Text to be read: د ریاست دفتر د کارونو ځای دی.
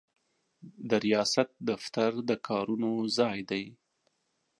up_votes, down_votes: 2, 0